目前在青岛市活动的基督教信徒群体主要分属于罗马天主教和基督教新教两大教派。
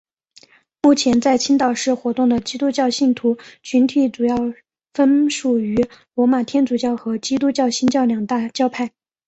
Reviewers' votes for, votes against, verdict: 2, 0, accepted